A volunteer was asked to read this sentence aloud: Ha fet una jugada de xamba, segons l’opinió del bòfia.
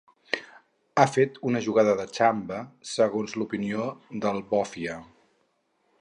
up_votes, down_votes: 4, 0